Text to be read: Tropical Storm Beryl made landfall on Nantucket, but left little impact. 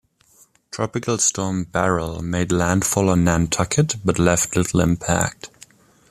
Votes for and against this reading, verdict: 2, 0, accepted